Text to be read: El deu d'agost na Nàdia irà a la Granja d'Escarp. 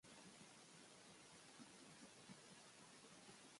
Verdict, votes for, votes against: rejected, 0, 2